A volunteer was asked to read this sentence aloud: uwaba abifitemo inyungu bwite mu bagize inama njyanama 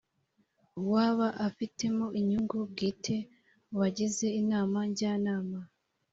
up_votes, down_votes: 3, 0